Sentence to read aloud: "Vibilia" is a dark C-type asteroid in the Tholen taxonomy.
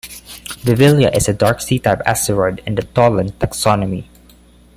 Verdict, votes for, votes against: rejected, 1, 2